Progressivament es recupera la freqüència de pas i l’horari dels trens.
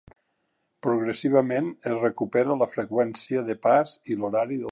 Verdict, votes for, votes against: rejected, 0, 3